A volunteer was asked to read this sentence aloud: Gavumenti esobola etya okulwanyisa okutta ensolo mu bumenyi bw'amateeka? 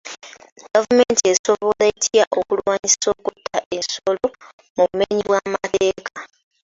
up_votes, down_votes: 2, 0